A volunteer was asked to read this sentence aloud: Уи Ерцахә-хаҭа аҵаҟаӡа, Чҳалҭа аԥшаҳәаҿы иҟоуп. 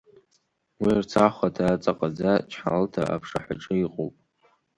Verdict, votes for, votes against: accepted, 4, 1